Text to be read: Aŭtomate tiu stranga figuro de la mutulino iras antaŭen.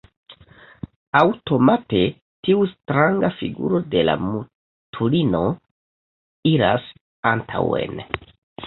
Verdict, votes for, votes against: rejected, 0, 2